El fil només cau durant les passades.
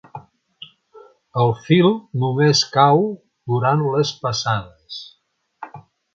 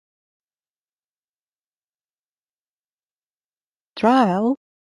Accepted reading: first